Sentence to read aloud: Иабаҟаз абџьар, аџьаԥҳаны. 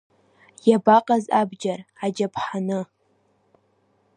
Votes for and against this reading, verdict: 2, 0, accepted